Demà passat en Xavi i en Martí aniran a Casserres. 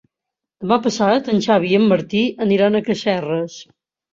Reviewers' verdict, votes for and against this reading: accepted, 3, 0